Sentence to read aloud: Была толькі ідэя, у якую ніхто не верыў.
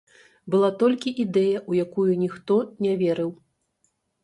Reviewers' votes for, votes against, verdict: 0, 3, rejected